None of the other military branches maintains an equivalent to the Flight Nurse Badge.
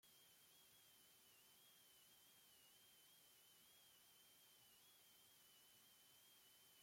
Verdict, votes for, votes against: rejected, 0, 2